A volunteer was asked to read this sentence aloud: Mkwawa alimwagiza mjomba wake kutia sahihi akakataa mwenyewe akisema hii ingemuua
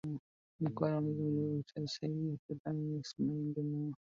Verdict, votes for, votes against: rejected, 0, 2